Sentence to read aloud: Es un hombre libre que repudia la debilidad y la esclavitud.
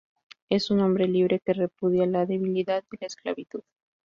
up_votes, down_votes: 0, 2